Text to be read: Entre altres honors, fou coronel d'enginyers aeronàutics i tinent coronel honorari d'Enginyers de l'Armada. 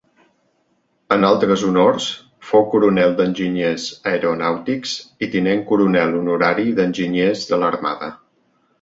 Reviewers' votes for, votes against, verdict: 0, 2, rejected